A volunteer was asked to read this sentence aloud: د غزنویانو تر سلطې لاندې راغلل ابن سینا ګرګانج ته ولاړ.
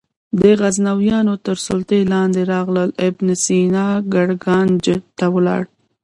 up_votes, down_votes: 1, 2